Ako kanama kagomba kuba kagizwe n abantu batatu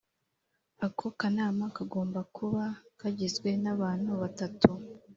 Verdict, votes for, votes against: accepted, 2, 1